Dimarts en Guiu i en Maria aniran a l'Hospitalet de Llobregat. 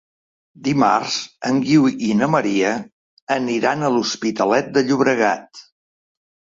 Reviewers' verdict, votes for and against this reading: rejected, 1, 2